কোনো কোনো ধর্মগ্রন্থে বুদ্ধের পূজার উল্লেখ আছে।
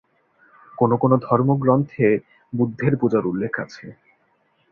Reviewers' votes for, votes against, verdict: 2, 0, accepted